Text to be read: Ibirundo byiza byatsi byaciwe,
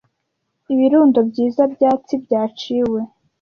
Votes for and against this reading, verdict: 2, 1, accepted